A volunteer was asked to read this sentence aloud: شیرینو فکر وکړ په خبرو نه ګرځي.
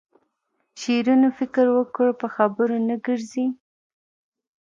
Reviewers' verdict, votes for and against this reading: rejected, 1, 2